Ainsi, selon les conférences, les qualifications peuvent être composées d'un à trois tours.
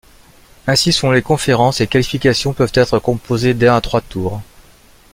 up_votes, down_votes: 3, 1